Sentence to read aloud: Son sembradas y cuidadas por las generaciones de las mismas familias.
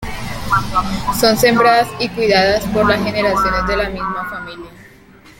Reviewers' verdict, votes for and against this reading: accepted, 2, 1